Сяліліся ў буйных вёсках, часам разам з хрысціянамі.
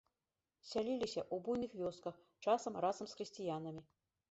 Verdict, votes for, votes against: rejected, 1, 2